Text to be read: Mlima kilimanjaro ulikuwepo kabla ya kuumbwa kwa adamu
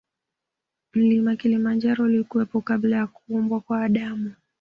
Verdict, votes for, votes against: accepted, 2, 0